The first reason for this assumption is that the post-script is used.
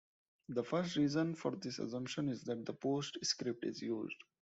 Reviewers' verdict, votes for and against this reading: rejected, 1, 2